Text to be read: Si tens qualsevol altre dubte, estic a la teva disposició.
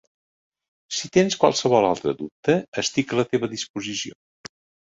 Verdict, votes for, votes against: accepted, 2, 0